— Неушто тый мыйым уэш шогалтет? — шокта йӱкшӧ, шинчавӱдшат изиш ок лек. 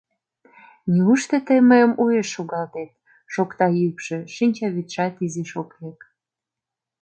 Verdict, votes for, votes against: accepted, 2, 0